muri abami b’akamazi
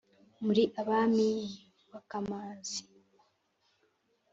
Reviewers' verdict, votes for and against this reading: accepted, 4, 0